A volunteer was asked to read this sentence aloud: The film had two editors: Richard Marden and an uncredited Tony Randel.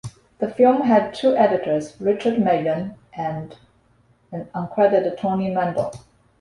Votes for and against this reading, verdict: 0, 2, rejected